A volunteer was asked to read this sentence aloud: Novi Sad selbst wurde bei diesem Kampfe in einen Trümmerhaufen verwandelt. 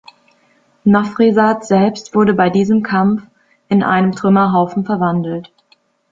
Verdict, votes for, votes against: rejected, 0, 2